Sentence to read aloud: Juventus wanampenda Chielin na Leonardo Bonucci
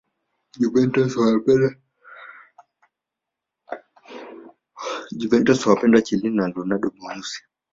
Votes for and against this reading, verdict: 2, 1, accepted